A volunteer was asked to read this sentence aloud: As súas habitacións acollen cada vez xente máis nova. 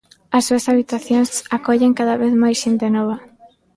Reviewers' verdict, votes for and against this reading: rejected, 0, 2